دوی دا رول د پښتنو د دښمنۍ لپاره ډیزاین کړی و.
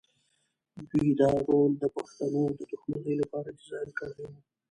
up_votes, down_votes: 2, 0